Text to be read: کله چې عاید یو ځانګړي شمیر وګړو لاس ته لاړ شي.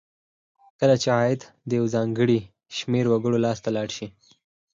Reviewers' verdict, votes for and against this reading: accepted, 4, 0